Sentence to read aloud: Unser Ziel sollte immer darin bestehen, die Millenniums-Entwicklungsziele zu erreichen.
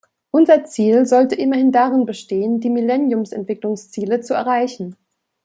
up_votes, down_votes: 2, 1